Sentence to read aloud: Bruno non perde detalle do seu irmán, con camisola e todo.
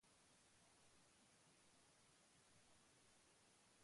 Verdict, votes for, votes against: rejected, 0, 2